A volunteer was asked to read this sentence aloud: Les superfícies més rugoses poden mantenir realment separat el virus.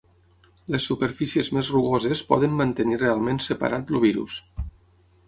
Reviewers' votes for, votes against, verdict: 3, 6, rejected